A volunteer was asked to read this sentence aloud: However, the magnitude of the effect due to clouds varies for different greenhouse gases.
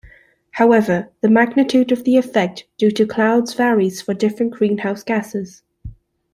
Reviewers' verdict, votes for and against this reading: accepted, 2, 0